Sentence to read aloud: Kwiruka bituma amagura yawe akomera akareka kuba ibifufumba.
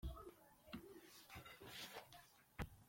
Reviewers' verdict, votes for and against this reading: rejected, 2, 3